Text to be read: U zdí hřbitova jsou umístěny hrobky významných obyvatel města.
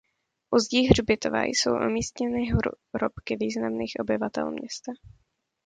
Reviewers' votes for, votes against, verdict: 0, 2, rejected